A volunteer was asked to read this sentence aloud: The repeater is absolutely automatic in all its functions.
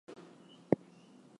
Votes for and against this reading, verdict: 0, 2, rejected